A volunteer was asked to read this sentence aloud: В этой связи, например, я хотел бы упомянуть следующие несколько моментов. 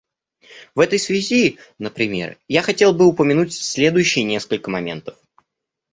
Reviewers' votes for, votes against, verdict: 2, 0, accepted